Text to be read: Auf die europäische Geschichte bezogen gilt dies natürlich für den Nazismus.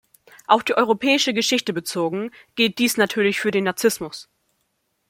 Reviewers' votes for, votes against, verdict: 2, 1, accepted